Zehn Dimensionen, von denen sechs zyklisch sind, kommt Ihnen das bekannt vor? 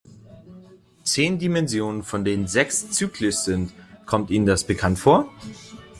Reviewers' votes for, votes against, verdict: 2, 0, accepted